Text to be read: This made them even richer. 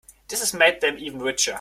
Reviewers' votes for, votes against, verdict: 0, 2, rejected